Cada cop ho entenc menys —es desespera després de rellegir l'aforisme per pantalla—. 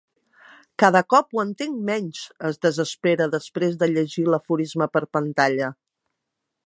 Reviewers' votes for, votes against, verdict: 1, 2, rejected